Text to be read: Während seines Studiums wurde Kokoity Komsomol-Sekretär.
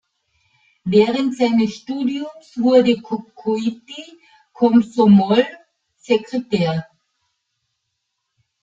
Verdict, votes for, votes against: rejected, 1, 2